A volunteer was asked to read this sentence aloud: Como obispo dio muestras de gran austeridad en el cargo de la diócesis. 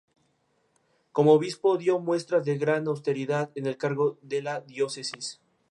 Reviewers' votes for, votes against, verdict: 2, 0, accepted